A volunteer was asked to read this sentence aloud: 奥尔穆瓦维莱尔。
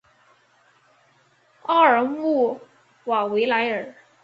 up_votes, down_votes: 3, 0